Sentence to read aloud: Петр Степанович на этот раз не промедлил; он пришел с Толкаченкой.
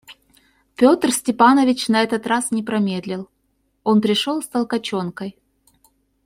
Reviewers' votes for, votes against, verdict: 2, 0, accepted